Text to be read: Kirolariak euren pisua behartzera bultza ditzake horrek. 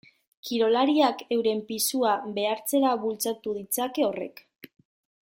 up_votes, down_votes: 0, 2